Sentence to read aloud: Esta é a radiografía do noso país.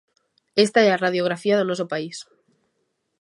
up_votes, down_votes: 3, 0